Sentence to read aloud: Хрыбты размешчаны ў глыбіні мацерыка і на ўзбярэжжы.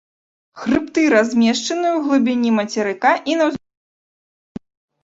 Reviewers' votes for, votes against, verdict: 1, 2, rejected